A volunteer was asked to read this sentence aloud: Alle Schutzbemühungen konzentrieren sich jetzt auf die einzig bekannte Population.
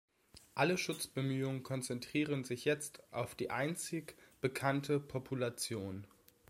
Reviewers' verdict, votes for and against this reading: accepted, 2, 0